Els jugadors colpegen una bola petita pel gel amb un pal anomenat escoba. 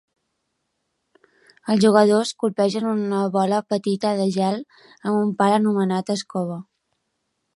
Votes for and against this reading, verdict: 1, 3, rejected